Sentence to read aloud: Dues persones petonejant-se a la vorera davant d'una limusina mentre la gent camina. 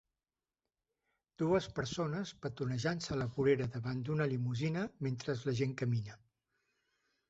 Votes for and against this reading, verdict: 0, 2, rejected